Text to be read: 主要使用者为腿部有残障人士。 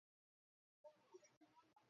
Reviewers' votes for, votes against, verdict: 0, 2, rejected